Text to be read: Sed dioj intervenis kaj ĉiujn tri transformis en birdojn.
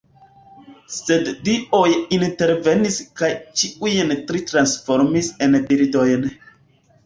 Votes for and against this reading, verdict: 2, 0, accepted